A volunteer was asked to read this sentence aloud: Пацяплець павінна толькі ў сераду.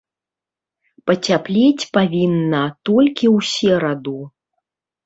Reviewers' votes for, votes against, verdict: 1, 2, rejected